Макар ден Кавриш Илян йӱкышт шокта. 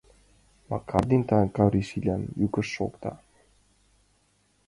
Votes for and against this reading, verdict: 2, 1, accepted